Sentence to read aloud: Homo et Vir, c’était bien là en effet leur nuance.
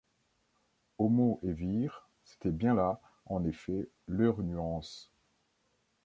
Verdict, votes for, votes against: accepted, 2, 0